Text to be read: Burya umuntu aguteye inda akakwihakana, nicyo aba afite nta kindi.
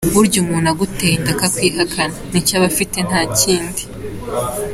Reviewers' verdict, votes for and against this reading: accepted, 2, 0